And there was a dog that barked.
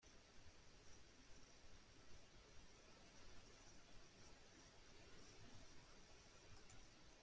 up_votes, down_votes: 0, 2